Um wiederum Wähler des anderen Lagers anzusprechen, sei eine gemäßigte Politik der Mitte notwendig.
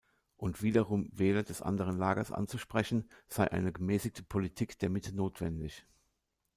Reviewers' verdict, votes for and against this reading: rejected, 1, 2